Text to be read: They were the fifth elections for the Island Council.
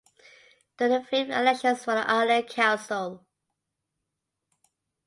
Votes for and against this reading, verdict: 2, 1, accepted